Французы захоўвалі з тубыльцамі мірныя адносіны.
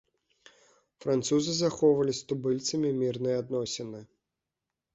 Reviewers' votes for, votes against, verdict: 2, 0, accepted